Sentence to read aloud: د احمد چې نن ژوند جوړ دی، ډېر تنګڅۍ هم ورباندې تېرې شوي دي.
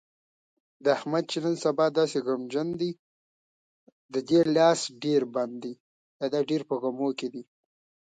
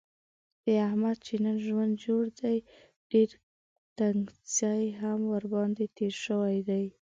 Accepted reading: second